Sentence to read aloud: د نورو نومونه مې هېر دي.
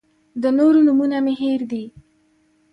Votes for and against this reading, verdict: 2, 0, accepted